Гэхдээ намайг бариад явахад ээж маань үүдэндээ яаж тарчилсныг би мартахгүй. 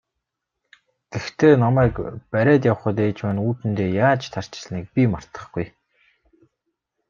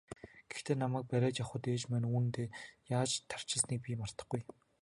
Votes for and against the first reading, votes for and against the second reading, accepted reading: 0, 2, 2, 0, second